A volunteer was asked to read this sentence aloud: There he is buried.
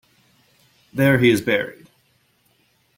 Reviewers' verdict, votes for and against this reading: accepted, 2, 1